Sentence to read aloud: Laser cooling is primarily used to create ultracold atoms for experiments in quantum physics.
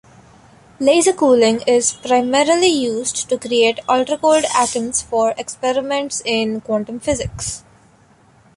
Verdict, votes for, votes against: rejected, 0, 2